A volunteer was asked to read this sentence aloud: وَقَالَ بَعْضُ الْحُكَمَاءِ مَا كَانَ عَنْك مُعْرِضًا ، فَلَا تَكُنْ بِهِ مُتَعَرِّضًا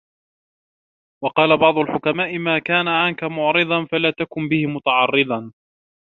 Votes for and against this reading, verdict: 2, 0, accepted